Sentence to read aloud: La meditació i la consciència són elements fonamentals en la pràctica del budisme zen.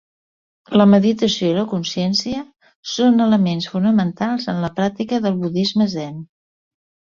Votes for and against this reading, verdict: 2, 0, accepted